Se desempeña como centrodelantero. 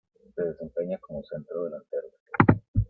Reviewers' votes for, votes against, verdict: 1, 2, rejected